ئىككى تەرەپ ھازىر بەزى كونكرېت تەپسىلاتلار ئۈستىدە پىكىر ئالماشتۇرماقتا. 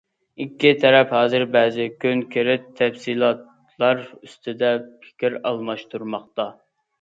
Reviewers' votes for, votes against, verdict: 0, 2, rejected